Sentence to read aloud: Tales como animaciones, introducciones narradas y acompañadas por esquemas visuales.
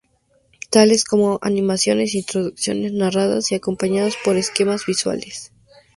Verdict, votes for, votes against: accepted, 2, 0